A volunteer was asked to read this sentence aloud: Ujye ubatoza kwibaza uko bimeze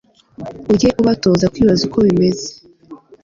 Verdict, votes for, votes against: accepted, 2, 0